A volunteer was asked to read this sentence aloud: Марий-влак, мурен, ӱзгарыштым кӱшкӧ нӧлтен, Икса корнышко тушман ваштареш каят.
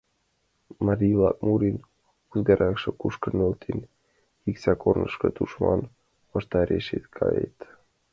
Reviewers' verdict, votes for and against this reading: rejected, 0, 2